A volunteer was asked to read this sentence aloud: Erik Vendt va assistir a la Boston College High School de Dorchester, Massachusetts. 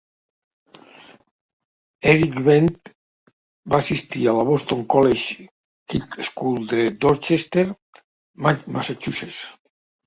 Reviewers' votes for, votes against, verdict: 0, 2, rejected